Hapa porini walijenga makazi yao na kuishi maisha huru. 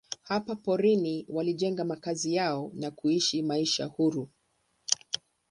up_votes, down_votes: 10, 0